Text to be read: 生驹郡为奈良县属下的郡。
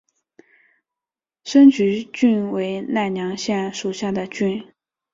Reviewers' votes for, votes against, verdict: 3, 1, accepted